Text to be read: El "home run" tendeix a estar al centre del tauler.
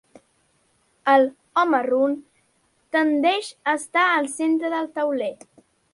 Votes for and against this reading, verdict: 2, 0, accepted